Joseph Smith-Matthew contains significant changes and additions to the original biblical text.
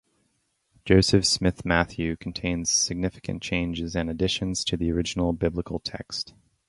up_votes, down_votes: 0, 2